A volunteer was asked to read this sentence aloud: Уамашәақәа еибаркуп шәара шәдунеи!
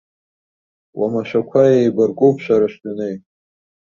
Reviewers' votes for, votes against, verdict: 2, 0, accepted